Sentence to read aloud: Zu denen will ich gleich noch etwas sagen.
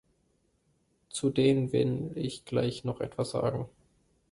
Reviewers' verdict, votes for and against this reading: rejected, 0, 2